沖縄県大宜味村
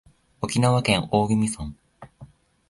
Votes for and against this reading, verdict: 17, 2, accepted